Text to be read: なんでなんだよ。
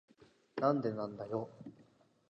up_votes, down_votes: 2, 0